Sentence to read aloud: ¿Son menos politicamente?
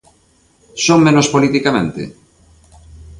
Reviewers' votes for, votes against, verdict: 2, 0, accepted